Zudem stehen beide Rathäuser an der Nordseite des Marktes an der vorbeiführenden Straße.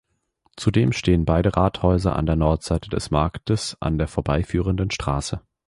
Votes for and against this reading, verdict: 2, 0, accepted